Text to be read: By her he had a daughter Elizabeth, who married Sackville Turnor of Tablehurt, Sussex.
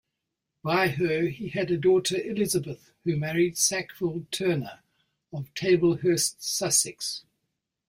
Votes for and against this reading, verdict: 2, 1, accepted